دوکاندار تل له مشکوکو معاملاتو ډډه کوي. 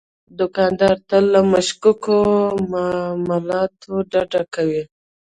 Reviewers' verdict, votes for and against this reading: rejected, 1, 2